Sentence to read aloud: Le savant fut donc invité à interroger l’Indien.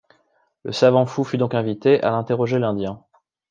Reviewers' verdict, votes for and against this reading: rejected, 0, 2